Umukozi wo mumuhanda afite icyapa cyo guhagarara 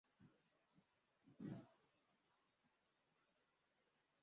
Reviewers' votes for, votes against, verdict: 0, 2, rejected